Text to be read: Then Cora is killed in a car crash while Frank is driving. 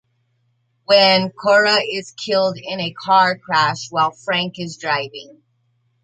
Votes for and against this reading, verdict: 0, 2, rejected